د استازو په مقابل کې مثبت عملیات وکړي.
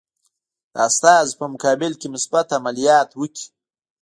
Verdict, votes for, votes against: rejected, 0, 2